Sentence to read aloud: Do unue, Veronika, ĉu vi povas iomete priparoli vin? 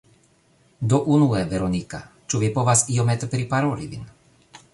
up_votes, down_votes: 1, 2